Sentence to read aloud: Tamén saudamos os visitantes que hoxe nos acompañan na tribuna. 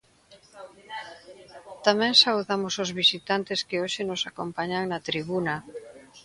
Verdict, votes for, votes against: accepted, 2, 0